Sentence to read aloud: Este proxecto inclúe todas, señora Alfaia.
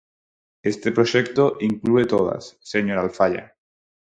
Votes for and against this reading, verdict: 4, 0, accepted